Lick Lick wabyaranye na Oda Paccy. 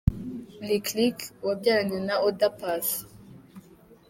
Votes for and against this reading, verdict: 2, 0, accepted